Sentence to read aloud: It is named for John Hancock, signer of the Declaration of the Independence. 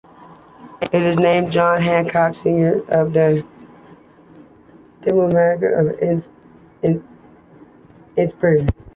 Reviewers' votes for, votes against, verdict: 0, 2, rejected